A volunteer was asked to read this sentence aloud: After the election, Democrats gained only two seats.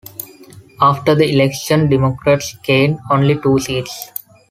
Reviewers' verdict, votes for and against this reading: accepted, 2, 0